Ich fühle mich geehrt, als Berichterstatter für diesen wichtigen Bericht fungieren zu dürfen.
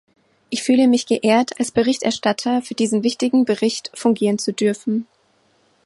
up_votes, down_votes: 2, 0